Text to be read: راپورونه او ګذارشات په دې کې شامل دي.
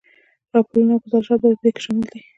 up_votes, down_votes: 2, 0